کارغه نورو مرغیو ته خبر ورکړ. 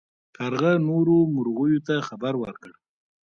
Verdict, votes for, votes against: accepted, 2, 1